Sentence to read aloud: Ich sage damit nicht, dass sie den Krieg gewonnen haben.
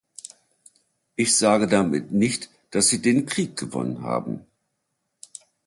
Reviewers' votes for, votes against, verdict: 2, 0, accepted